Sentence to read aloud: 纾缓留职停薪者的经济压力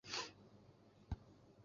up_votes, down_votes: 1, 2